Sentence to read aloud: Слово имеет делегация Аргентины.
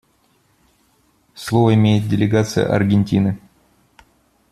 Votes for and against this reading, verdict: 2, 0, accepted